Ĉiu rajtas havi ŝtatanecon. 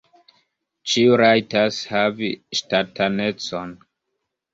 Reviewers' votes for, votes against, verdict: 2, 1, accepted